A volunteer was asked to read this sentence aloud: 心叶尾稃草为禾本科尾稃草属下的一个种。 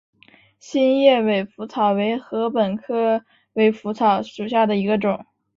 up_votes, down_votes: 2, 0